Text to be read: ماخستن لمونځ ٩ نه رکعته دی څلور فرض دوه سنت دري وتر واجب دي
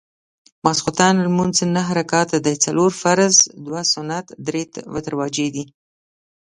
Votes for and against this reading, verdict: 0, 2, rejected